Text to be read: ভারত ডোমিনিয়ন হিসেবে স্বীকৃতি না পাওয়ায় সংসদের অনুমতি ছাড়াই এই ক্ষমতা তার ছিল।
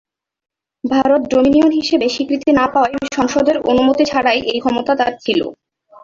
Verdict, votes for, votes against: rejected, 0, 2